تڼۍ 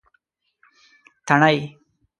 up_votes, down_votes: 1, 2